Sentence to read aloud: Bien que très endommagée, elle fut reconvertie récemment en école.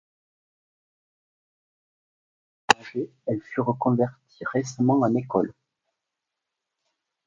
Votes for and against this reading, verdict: 1, 2, rejected